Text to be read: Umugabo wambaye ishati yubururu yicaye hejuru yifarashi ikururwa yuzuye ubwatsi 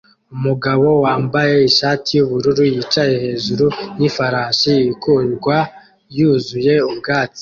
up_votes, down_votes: 2, 0